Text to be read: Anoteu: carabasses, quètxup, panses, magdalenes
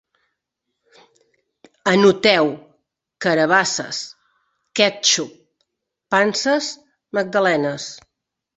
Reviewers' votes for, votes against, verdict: 2, 0, accepted